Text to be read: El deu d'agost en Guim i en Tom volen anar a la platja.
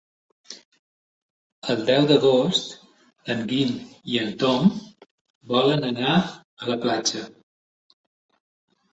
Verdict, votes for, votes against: accepted, 3, 0